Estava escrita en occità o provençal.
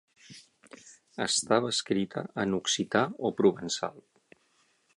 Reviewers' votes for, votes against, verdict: 6, 0, accepted